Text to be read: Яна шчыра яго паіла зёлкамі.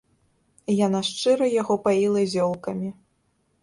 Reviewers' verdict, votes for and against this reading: accepted, 2, 0